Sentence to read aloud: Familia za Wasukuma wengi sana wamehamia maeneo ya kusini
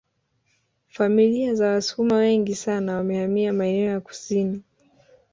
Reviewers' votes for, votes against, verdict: 1, 2, rejected